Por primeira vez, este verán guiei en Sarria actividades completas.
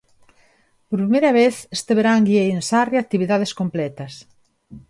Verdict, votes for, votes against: rejected, 1, 2